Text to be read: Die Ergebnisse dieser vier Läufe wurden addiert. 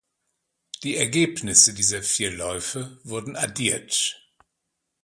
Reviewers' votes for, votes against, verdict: 2, 0, accepted